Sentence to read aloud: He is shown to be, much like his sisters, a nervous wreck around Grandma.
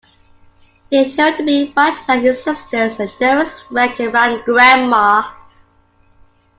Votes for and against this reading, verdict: 0, 2, rejected